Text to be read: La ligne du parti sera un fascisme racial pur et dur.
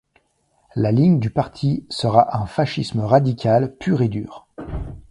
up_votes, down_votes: 1, 2